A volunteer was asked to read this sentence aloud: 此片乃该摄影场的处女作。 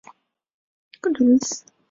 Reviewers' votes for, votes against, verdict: 0, 2, rejected